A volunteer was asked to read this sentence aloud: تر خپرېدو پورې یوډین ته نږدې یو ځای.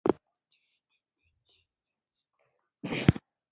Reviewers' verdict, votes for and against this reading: rejected, 0, 2